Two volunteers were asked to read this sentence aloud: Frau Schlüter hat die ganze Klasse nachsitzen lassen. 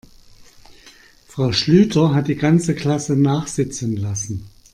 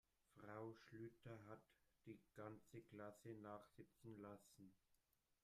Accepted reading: first